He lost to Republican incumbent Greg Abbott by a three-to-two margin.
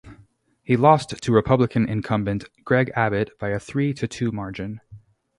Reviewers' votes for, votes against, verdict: 2, 2, rejected